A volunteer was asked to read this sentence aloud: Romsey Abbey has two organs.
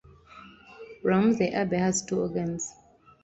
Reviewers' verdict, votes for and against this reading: rejected, 1, 2